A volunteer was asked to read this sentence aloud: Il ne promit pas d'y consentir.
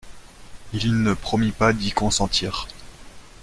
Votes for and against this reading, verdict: 2, 0, accepted